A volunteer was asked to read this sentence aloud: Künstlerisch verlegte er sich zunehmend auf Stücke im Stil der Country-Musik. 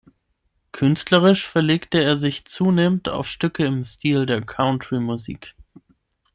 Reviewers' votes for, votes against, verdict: 6, 3, accepted